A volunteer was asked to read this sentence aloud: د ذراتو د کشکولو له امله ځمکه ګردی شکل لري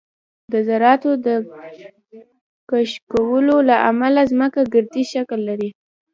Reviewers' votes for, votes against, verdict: 2, 0, accepted